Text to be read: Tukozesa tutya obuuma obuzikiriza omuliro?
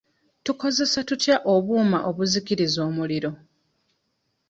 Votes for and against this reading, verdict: 2, 1, accepted